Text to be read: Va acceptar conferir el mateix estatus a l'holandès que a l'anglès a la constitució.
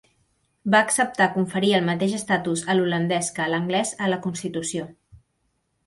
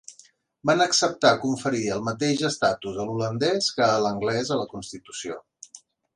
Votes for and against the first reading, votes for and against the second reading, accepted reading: 2, 0, 1, 2, first